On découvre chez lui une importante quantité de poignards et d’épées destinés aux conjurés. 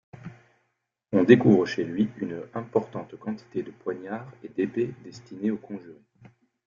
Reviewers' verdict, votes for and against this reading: accepted, 2, 0